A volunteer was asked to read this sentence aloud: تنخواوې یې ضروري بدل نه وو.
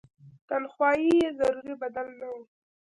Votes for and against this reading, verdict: 1, 2, rejected